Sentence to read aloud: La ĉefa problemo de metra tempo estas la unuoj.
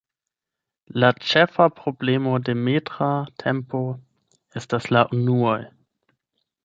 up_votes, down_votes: 0, 8